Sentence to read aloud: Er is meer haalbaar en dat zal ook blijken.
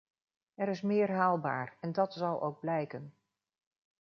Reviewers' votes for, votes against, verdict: 2, 1, accepted